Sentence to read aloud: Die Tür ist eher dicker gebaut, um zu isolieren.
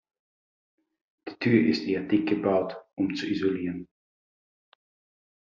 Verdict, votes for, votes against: rejected, 1, 2